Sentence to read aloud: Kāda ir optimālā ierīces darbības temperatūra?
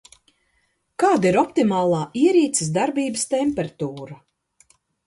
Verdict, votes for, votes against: accepted, 2, 0